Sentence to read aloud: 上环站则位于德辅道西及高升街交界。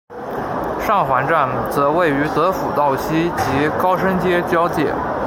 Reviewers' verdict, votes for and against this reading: accepted, 2, 0